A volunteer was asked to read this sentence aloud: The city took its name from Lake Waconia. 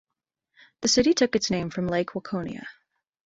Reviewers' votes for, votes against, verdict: 2, 0, accepted